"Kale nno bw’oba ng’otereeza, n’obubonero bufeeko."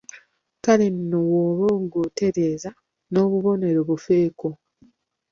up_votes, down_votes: 2, 0